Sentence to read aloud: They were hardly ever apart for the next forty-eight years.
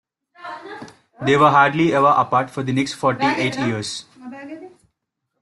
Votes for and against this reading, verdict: 0, 2, rejected